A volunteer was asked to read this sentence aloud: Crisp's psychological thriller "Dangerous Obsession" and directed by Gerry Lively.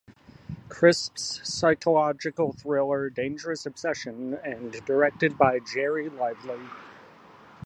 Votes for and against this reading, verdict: 1, 2, rejected